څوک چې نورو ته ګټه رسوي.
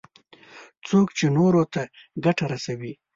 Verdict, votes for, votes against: accepted, 2, 0